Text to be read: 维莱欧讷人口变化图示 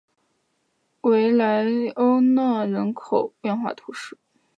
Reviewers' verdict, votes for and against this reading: accepted, 5, 1